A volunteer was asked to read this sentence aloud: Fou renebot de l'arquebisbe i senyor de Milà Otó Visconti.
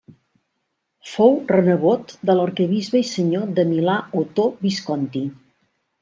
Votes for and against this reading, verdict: 2, 0, accepted